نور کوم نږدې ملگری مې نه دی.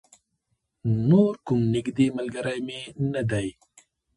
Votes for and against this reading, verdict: 1, 2, rejected